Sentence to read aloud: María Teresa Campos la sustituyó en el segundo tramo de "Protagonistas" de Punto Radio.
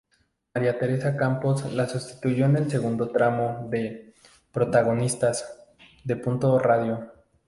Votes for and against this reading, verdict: 4, 0, accepted